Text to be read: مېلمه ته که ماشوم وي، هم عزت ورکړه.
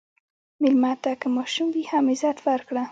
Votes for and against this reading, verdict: 0, 2, rejected